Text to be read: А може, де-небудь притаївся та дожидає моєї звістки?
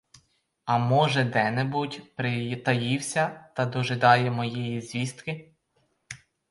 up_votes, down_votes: 0, 4